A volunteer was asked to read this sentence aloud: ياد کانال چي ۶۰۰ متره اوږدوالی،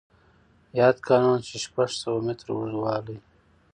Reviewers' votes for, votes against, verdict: 0, 2, rejected